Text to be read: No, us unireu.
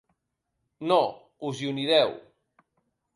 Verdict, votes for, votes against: rejected, 2, 3